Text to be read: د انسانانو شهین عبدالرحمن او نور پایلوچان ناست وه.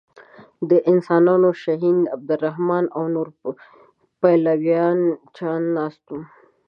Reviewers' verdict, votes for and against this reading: rejected, 1, 2